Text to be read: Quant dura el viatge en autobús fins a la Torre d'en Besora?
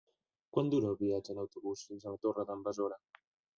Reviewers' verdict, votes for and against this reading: rejected, 0, 2